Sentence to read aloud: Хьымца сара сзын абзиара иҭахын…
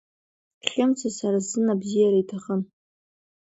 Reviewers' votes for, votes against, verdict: 2, 0, accepted